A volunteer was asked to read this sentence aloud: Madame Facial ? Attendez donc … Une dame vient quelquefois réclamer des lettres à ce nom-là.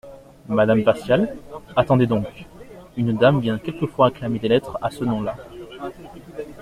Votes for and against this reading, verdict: 2, 0, accepted